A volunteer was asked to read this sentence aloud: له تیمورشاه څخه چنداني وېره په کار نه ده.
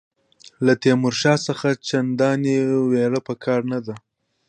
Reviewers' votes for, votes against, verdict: 1, 2, rejected